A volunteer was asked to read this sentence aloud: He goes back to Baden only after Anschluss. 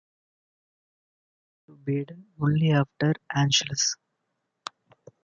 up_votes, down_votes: 1, 2